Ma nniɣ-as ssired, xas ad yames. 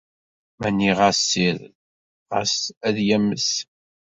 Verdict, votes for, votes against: accepted, 2, 0